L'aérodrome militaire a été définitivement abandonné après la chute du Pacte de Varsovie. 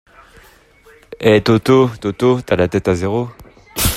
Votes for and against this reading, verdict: 0, 2, rejected